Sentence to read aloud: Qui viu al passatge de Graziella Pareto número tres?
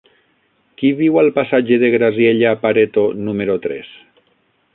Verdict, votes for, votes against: rejected, 0, 6